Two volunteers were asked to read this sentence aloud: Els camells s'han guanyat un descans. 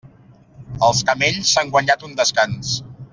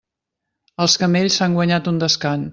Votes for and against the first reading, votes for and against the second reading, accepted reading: 3, 0, 0, 2, first